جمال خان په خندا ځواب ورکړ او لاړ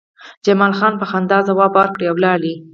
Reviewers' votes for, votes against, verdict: 6, 0, accepted